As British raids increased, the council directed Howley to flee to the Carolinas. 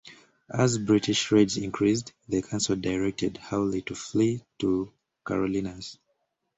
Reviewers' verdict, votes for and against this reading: rejected, 0, 2